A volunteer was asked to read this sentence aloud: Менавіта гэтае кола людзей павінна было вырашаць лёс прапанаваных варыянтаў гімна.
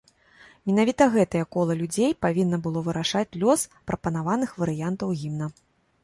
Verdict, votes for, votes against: accepted, 2, 0